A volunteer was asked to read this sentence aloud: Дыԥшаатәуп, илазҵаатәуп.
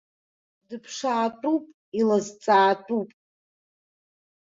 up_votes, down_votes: 0, 2